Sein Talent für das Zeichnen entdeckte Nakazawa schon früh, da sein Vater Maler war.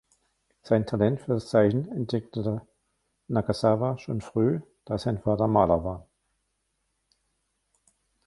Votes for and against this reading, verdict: 1, 2, rejected